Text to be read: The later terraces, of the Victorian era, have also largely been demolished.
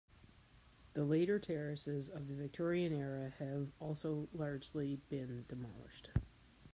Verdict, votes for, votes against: accepted, 2, 0